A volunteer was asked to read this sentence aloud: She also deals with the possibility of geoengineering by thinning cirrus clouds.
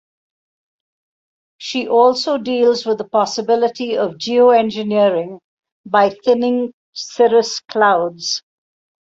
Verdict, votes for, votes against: rejected, 2, 2